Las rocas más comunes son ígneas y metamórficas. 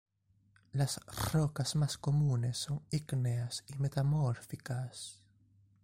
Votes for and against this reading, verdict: 2, 0, accepted